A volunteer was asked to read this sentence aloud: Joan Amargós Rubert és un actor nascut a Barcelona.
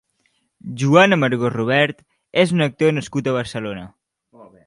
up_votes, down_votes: 1, 2